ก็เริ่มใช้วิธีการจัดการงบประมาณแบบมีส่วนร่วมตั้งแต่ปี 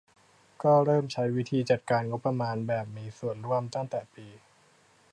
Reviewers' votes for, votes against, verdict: 0, 2, rejected